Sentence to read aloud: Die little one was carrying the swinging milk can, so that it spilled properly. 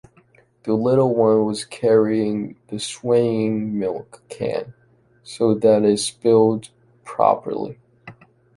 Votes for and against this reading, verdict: 2, 0, accepted